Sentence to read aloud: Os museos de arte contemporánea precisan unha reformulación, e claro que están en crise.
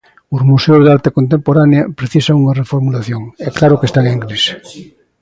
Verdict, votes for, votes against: accepted, 3, 0